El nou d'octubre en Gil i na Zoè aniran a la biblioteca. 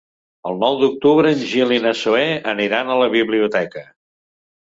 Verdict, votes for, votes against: accepted, 3, 0